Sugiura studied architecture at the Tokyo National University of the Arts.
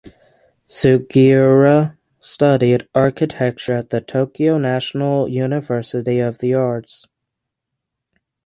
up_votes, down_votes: 3, 0